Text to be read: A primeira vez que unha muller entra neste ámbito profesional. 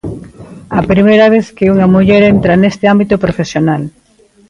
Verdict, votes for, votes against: accepted, 2, 0